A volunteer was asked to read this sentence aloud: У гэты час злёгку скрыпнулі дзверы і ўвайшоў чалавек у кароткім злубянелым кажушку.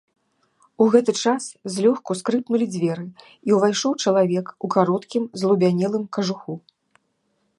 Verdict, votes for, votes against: rejected, 1, 2